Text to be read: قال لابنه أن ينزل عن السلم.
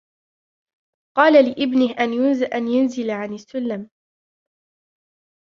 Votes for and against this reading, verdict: 2, 3, rejected